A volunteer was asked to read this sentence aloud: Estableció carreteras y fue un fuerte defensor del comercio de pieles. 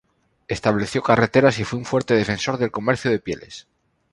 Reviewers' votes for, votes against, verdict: 2, 0, accepted